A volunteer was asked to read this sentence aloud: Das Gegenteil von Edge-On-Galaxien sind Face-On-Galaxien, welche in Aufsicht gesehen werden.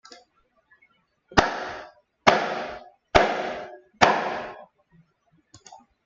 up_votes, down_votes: 0, 2